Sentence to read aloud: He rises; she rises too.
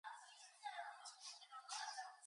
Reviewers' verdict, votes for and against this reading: rejected, 0, 4